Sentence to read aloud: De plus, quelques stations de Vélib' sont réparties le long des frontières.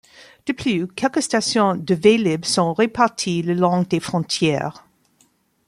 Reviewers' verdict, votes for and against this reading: rejected, 0, 2